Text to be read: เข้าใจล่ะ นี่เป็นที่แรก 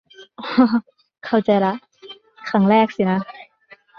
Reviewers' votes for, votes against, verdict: 0, 3, rejected